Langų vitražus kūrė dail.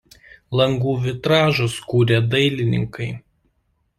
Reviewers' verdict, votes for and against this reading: rejected, 1, 2